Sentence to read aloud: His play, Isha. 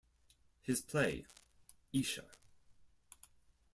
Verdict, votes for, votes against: accepted, 4, 0